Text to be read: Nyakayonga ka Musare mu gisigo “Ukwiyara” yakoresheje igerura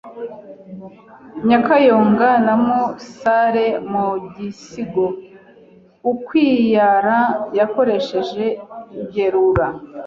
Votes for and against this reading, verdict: 0, 2, rejected